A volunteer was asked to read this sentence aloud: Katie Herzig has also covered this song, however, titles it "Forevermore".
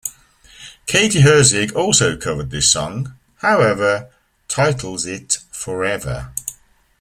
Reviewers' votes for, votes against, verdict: 0, 2, rejected